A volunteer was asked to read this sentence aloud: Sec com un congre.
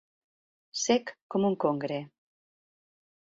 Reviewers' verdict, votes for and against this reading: accepted, 2, 0